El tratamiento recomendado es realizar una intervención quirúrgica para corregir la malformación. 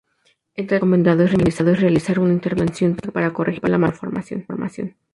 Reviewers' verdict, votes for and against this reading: rejected, 0, 2